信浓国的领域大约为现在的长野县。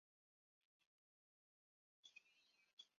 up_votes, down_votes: 0, 2